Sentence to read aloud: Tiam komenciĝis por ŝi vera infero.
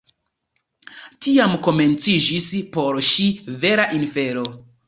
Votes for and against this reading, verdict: 1, 2, rejected